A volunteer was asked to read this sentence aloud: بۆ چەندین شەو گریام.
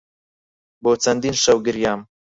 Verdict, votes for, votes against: accepted, 4, 2